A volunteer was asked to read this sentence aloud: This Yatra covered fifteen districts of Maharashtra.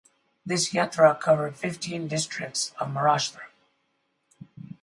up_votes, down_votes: 0, 2